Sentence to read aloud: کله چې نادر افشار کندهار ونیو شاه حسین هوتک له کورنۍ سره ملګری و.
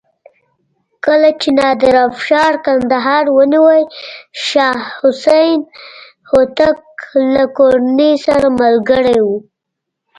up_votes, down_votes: 3, 0